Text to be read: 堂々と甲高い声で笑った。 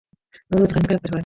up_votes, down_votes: 0, 2